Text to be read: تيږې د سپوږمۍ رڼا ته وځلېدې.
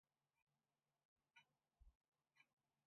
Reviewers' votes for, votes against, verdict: 0, 2, rejected